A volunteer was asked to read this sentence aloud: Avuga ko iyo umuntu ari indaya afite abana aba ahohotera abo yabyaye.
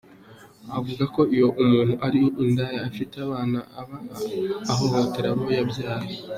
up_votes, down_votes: 2, 0